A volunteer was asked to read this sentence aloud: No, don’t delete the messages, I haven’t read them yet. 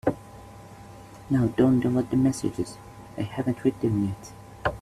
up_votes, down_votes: 3, 4